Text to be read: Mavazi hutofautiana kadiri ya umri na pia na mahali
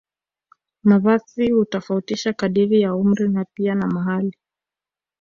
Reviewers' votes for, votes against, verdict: 1, 2, rejected